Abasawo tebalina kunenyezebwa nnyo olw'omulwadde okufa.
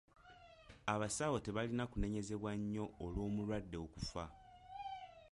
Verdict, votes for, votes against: accepted, 2, 0